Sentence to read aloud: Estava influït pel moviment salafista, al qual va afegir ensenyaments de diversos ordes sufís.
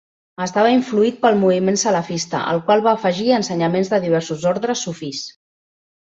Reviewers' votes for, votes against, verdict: 1, 2, rejected